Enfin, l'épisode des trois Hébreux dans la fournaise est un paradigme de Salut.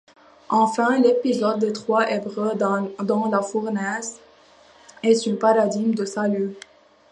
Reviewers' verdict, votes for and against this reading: rejected, 1, 2